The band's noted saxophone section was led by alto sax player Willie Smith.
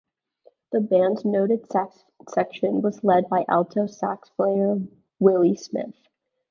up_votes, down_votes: 1, 2